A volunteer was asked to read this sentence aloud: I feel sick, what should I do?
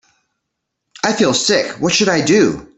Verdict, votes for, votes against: accepted, 2, 0